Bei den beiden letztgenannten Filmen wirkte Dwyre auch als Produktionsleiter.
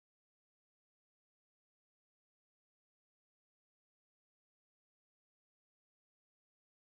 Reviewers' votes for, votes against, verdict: 0, 4, rejected